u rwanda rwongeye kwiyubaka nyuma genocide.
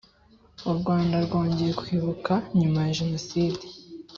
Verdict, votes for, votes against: rejected, 1, 2